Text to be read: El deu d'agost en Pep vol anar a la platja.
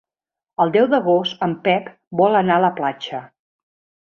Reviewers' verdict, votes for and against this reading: accepted, 2, 0